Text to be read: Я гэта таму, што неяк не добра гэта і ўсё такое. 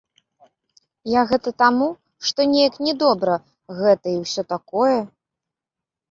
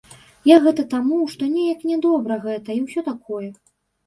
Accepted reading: first